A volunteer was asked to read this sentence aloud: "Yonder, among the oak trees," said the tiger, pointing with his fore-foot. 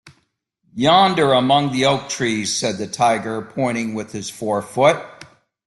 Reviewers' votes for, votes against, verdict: 2, 0, accepted